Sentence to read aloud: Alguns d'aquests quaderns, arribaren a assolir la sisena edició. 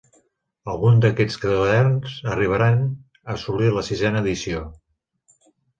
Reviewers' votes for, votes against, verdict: 2, 3, rejected